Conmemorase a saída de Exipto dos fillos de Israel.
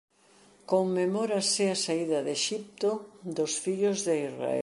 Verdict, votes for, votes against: accepted, 2, 0